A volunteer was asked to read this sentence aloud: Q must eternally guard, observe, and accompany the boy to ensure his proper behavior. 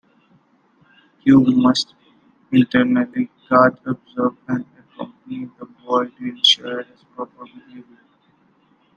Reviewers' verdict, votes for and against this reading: accepted, 2, 1